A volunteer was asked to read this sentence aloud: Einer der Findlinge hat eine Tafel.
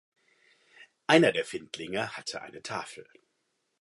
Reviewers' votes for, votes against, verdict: 1, 2, rejected